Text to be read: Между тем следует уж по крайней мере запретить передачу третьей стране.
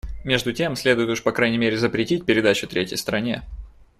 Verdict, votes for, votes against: accepted, 2, 0